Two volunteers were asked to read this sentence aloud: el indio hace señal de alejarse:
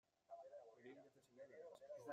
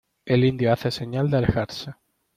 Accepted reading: second